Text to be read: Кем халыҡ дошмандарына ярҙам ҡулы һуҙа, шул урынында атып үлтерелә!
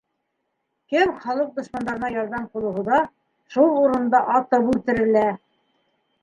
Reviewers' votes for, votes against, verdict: 2, 1, accepted